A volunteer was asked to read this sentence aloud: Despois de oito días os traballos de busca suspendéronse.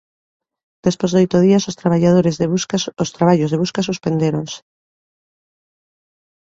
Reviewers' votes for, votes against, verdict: 1, 2, rejected